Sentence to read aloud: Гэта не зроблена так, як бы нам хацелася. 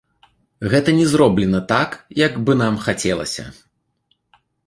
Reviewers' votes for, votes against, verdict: 2, 0, accepted